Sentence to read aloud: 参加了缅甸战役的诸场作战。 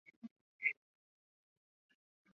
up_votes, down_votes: 0, 2